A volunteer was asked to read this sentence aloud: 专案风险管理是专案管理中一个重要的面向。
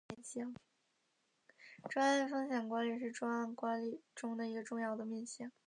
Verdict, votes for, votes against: rejected, 1, 2